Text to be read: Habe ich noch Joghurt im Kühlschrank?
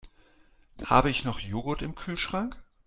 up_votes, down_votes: 2, 0